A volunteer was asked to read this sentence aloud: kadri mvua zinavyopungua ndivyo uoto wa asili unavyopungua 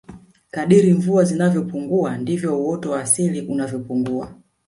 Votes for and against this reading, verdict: 2, 0, accepted